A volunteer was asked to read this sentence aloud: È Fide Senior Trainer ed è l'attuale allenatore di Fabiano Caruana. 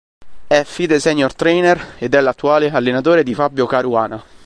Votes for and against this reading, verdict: 0, 2, rejected